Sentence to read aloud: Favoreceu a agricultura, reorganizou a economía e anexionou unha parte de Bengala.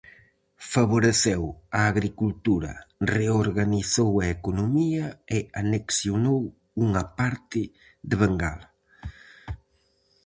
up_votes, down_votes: 4, 0